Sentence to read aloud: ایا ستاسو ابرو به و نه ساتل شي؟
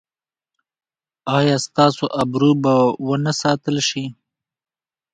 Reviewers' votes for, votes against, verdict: 2, 1, accepted